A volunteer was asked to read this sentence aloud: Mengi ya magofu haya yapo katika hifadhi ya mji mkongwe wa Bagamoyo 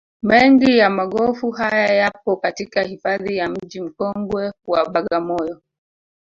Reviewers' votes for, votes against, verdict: 1, 2, rejected